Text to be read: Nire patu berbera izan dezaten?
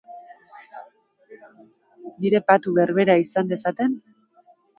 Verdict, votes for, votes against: accepted, 2, 1